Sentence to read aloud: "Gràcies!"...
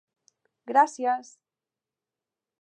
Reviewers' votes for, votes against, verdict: 3, 0, accepted